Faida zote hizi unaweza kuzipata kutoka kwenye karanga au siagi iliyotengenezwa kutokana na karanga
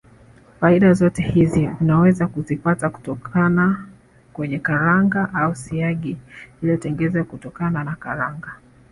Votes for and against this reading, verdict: 2, 0, accepted